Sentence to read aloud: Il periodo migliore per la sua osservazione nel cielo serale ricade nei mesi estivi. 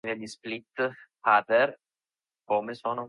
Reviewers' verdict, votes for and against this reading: rejected, 0, 2